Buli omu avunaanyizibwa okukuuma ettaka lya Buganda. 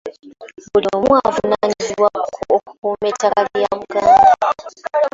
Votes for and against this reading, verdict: 1, 2, rejected